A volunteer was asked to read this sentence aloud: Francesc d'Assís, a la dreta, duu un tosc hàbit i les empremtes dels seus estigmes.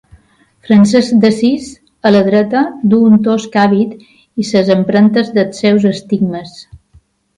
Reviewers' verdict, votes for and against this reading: rejected, 0, 2